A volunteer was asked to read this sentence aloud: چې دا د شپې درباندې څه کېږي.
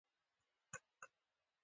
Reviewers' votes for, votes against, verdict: 0, 2, rejected